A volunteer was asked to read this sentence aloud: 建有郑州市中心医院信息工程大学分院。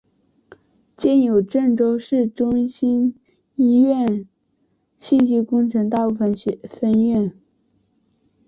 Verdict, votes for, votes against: rejected, 1, 2